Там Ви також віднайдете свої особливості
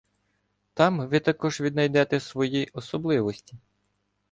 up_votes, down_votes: 2, 0